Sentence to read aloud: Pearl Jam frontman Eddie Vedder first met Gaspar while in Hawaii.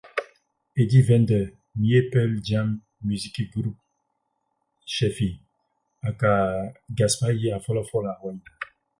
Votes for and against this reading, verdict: 0, 8, rejected